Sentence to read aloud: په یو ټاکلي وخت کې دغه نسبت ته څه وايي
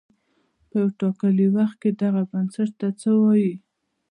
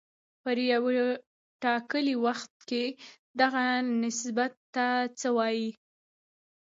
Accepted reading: first